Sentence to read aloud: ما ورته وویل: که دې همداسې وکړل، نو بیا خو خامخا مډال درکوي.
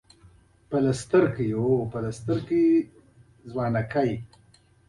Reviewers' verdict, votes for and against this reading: rejected, 0, 2